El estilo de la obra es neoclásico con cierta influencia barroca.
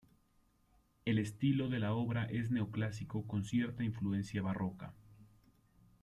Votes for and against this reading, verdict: 2, 0, accepted